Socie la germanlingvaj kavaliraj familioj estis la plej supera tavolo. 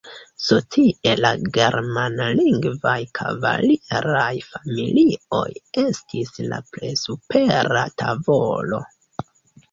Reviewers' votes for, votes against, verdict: 1, 2, rejected